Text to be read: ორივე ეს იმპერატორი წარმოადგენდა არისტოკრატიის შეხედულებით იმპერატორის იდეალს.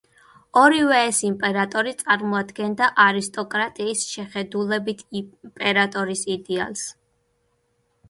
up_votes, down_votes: 1, 2